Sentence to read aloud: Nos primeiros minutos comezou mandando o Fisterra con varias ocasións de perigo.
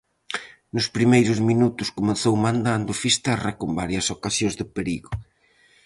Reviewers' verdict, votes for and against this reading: rejected, 2, 2